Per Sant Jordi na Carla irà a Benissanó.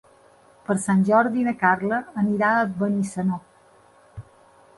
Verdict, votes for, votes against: rejected, 0, 2